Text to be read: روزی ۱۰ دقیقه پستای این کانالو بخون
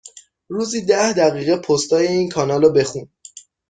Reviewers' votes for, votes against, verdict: 0, 2, rejected